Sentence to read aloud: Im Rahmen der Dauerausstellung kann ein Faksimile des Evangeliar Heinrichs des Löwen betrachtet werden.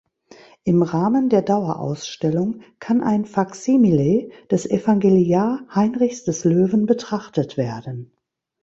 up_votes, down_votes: 2, 0